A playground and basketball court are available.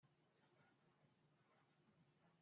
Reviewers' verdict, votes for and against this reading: rejected, 0, 2